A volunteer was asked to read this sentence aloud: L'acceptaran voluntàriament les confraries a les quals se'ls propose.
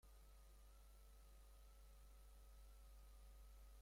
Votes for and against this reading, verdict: 0, 3, rejected